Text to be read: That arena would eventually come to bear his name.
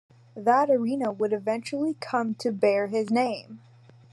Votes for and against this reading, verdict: 2, 0, accepted